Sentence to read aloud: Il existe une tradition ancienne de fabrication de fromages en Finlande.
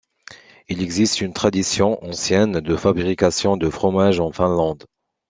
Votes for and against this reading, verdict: 2, 0, accepted